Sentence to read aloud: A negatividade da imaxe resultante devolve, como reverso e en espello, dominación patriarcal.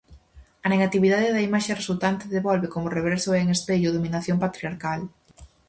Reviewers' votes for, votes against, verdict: 4, 0, accepted